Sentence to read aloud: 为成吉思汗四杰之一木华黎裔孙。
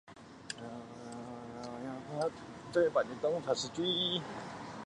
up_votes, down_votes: 1, 2